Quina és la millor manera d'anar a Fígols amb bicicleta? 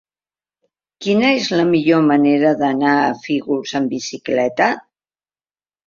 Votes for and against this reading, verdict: 2, 0, accepted